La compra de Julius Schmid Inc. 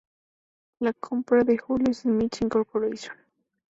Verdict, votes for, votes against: rejected, 2, 2